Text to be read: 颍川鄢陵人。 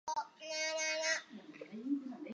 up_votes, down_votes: 0, 2